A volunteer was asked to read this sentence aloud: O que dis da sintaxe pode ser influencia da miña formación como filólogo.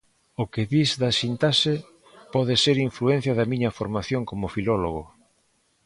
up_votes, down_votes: 2, 1